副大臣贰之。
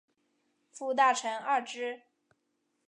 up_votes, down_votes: 2, 1